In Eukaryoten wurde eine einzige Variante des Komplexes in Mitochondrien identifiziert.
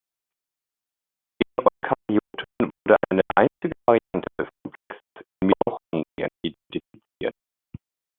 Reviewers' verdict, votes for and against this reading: rejected, 0, 2